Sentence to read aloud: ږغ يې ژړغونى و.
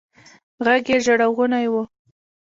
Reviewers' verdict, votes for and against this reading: rejected, 0, 2